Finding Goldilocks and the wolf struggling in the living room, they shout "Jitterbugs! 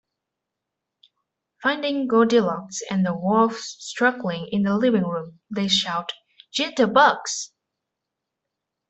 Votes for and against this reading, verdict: 2, 0, accepted